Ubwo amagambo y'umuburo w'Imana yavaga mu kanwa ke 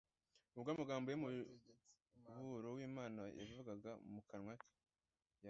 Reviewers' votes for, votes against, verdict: 1, 2, rejected